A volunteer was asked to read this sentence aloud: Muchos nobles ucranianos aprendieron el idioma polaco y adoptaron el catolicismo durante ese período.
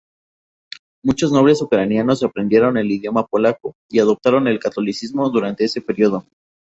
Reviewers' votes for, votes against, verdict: 2, 0, accepted